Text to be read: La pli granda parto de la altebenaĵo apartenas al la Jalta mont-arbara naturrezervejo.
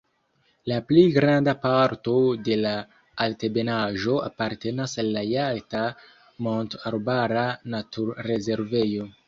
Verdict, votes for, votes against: rejected, 1, 2